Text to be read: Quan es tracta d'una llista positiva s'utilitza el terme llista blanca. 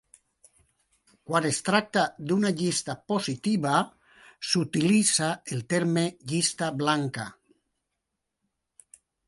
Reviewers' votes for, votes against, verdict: 2, 0, accepted